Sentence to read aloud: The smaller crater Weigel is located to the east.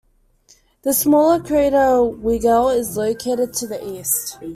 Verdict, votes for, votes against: accepted, 2, 0